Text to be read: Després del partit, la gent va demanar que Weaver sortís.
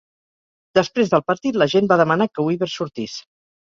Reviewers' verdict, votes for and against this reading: accepted, 2, 0